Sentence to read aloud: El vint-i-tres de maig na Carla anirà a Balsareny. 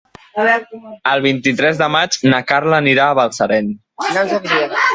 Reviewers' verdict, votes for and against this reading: rejected, 0, 2